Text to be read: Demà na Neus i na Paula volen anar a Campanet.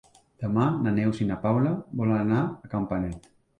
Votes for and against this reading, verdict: 3, 0, accepted